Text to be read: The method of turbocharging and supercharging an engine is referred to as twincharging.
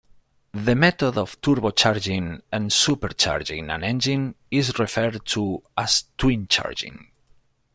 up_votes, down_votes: 2, 1